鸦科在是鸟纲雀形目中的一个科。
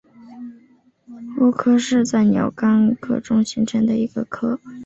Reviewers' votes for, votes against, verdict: 3, 3, rejected